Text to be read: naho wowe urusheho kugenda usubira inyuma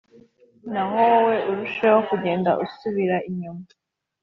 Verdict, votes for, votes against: accepted, 3, 0